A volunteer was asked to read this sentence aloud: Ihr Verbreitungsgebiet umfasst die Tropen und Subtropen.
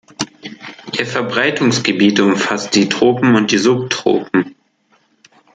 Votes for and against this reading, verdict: 0, 2, rejected